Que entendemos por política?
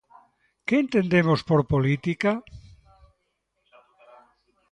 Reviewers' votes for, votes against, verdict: 1, 2, rejected